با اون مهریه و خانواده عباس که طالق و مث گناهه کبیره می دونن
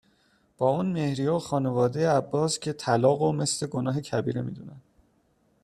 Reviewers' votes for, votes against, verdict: 2, 0, accepted